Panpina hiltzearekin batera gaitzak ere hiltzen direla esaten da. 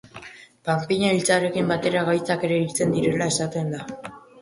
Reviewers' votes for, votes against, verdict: 2, 1, accepted